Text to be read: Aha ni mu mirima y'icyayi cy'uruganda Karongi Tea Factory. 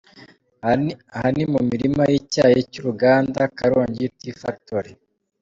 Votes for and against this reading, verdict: 0, 2, rejected